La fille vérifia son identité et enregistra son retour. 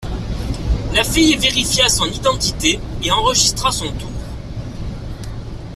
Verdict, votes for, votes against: rejected, 1, 2